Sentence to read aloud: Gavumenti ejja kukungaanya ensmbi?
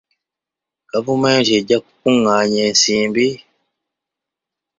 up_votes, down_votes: 0, 2